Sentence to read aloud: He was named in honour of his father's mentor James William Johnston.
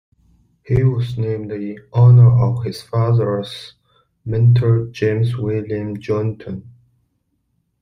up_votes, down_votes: 0, 2